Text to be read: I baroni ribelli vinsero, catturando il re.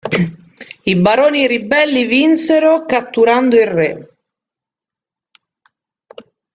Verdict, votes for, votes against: rejected, 1, 2